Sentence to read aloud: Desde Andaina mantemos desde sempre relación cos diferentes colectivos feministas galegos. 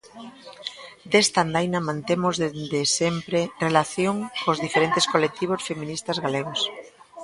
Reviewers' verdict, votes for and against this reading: rejected, 0, 2